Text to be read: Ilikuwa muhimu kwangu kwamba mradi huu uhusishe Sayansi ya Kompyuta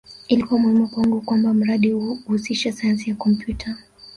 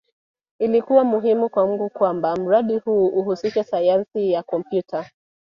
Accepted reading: second